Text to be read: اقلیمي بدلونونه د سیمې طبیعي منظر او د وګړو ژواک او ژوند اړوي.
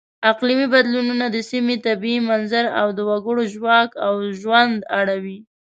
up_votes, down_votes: 2, 0